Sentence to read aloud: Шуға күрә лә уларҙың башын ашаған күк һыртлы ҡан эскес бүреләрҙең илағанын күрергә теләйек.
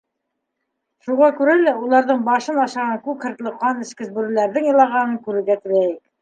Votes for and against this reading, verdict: 1, 3, rejected